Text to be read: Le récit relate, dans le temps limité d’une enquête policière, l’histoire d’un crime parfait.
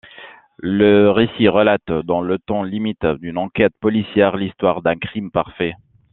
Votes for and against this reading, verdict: 1, 2, rejected